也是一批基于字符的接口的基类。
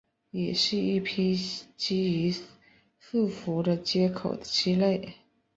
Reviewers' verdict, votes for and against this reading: accepted, 3, 0